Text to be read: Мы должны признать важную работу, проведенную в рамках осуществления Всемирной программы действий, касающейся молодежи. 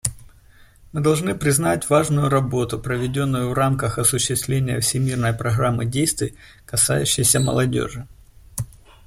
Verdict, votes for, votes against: accepted, 2, 1